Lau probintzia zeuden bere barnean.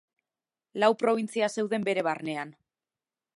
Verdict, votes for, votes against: accepted, 2, 1